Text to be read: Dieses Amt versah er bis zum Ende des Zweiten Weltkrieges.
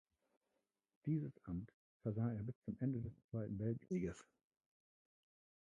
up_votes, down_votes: 0, 2